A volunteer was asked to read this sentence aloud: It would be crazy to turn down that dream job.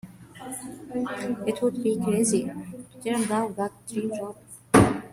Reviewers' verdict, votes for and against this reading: rejected, 0, 2